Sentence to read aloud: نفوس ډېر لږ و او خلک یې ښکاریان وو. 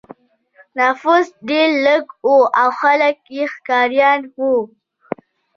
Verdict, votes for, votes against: rejected, 0, 2